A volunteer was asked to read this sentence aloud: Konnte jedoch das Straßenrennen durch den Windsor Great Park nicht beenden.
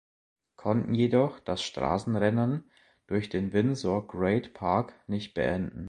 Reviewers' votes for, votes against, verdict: 2, 1, accepted